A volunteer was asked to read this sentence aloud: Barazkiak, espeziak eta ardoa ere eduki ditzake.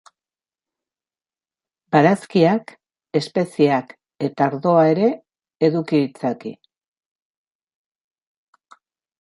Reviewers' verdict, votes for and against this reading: accepted, 2, 0